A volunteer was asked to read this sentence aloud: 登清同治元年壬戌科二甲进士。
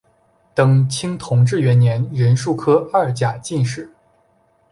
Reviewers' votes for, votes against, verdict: 4, 0, accepted